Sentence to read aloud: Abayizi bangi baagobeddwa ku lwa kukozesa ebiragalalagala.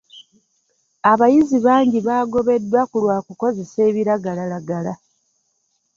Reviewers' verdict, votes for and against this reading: accepted, 2, 0